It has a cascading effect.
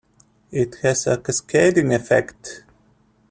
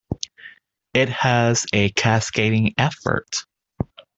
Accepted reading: first